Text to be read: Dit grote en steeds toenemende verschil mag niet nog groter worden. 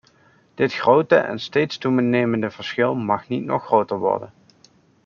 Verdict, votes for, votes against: rejected, 0, 2